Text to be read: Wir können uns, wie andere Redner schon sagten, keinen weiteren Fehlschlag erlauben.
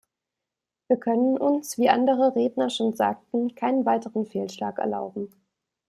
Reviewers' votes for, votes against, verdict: 2, 0, accepted